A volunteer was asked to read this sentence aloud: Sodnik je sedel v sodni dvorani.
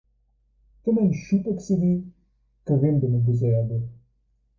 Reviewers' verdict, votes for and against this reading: rejected, 4, 4